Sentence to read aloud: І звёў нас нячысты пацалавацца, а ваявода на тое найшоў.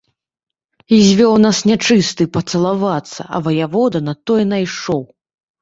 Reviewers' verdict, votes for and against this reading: accepted, 3, 0